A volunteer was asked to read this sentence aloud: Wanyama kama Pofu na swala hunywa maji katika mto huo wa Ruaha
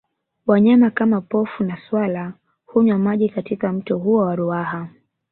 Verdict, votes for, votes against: accepted, 2, 0